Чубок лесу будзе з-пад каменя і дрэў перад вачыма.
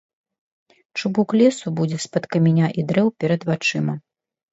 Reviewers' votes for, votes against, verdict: 0, 2, rejected